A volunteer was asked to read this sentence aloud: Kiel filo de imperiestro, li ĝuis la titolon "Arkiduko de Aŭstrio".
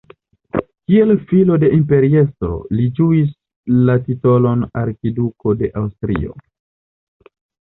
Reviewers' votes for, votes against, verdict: 1, 2, rejected